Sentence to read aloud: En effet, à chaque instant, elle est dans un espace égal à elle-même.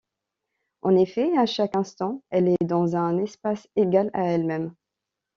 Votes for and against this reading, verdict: 2, 0, accepted